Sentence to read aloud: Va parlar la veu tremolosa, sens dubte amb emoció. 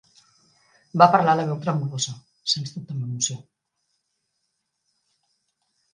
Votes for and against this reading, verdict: 1, 2, rejected